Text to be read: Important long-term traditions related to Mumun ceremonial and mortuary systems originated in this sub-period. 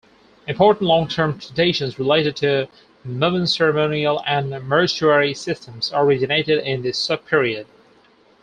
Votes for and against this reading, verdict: 4, 0, accepted